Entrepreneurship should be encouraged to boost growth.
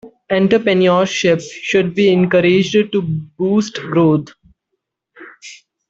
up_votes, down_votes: 0, 2